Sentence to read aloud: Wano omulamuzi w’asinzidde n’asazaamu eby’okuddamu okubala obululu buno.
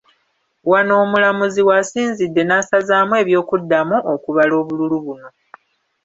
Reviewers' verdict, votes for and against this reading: accepted, 2, 1